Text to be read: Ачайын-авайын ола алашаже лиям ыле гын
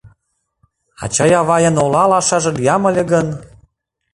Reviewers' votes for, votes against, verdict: 0, 2, rejected